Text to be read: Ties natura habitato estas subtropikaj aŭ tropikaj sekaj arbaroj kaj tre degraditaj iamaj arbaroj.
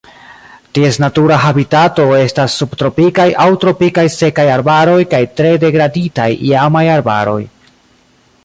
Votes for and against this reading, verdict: 0, 2, rejected